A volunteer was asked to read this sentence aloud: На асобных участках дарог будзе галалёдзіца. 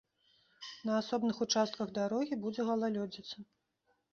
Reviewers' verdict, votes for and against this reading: rejected, 0, 2